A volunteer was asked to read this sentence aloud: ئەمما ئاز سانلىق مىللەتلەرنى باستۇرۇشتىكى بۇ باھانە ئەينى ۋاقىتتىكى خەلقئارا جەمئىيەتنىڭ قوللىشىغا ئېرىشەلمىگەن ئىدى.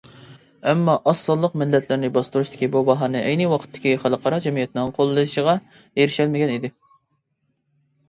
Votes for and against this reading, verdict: 2, 0, accepted